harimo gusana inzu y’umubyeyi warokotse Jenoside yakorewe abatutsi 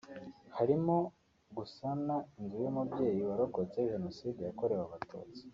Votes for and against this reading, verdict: 2, 0, accepted